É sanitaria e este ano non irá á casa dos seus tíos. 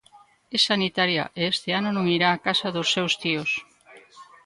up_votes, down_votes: 2, 0